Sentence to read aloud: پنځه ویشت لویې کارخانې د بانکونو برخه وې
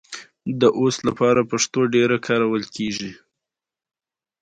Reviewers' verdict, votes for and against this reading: accepted, 2, 0